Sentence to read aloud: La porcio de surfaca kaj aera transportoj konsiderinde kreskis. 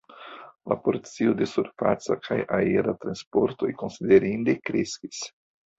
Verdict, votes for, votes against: accepted, 2, 0